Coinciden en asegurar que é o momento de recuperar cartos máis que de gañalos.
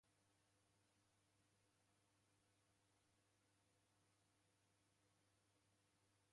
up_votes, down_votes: 0, 2